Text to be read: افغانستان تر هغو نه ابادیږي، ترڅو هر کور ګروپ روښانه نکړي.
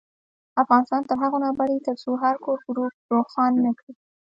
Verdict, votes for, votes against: accepted, 2, 1